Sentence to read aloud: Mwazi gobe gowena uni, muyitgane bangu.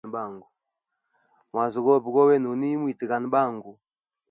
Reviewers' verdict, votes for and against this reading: rejected, 1, 2